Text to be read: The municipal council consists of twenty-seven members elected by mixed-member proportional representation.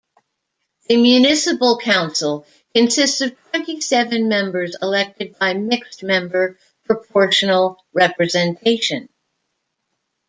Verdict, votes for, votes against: rejected, 0, 2